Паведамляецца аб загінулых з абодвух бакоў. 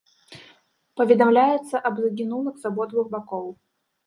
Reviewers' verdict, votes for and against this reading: rejected, 1, 2